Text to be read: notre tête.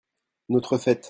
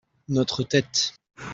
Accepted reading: second